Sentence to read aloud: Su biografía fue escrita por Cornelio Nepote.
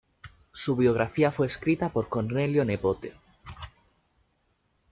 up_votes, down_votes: 2, 0